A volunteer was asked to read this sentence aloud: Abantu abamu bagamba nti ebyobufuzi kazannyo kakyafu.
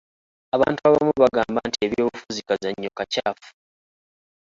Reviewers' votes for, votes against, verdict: 1, 2, rejected